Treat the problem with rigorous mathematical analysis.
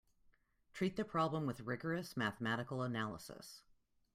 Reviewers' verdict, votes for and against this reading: accepted, 2, 0